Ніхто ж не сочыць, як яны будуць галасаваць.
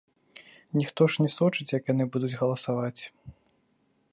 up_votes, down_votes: 2, 0